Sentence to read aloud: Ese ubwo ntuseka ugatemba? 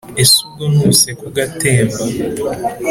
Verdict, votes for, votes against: accepted, 2, 0